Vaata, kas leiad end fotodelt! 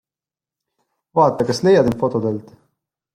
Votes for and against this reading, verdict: 2, 0, accepted